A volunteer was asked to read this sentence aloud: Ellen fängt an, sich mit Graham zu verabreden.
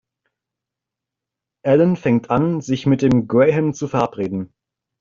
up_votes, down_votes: 1, 2